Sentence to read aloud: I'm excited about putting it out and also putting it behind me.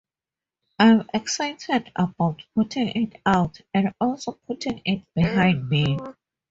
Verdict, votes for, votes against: accepted, 4, 0